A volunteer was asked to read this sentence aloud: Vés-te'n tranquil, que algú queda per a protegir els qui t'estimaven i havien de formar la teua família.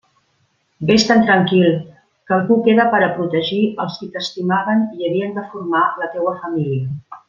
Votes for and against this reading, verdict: 2, 0, accepted